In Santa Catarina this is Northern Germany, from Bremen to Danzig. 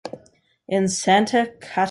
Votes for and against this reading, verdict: 0, 2, rejected